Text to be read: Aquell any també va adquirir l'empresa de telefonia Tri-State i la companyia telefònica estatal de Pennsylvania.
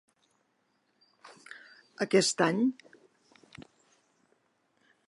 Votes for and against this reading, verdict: 0, 2, rejected